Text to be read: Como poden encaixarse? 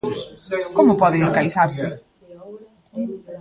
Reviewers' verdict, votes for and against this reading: rejected, 0, 2